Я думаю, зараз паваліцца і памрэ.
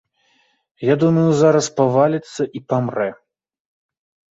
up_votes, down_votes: 2, 0